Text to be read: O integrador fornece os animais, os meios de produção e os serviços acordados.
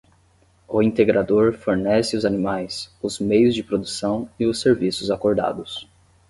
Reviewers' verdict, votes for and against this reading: accepted, 10, 0